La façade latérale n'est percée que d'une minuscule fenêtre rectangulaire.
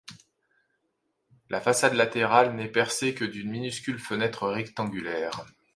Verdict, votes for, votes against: accepted, 2, 0